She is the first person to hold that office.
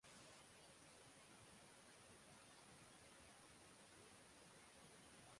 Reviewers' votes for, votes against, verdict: 0, 3, rejected